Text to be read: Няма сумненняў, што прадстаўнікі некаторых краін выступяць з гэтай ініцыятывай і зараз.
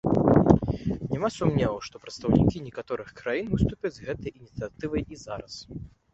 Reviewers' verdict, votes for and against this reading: rejected, 0, 2